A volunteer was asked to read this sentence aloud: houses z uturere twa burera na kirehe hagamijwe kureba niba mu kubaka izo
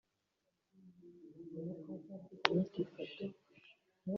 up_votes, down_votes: 0, 2